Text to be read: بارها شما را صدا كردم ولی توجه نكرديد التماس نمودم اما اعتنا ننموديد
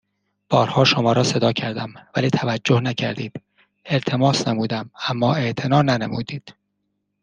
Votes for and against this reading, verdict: 2, 0, accepted